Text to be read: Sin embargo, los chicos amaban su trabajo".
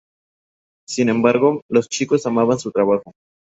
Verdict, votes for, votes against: accepted, 2, 0